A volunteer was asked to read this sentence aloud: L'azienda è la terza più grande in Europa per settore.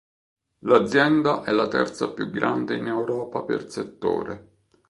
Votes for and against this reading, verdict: 2, 0, accepted